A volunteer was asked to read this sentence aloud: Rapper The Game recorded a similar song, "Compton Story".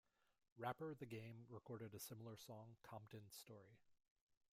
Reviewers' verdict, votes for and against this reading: accepted, 2, 1